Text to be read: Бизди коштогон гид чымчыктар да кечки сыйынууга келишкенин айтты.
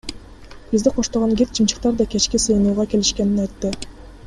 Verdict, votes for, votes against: accepted, 2, 0